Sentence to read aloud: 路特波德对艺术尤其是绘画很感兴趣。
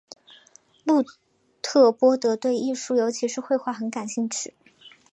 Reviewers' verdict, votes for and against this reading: accepted, 2, 0